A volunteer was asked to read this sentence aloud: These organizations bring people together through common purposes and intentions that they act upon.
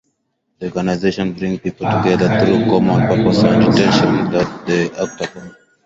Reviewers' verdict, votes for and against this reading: rejected, 0, 4